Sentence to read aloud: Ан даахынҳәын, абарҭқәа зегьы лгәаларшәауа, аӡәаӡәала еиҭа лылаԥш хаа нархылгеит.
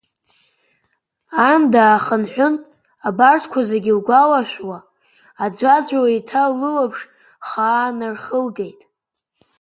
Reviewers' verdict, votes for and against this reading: accepted, 4, 0